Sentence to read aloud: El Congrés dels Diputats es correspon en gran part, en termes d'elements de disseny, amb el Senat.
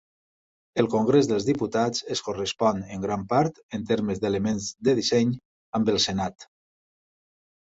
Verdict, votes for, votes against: accepted, 3, 0